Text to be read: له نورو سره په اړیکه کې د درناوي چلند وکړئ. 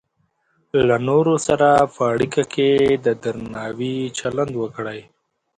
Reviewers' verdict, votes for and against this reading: accepted, 2, 0